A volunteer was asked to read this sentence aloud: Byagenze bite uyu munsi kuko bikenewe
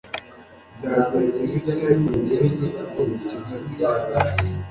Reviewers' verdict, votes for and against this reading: accepted, 2, 1